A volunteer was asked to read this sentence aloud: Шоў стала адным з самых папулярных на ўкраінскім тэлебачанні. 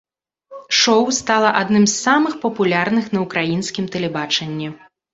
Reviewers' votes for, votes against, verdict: 2, 0, accepted